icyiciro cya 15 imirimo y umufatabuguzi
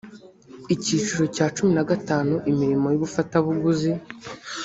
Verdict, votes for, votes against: rejected, 0, 2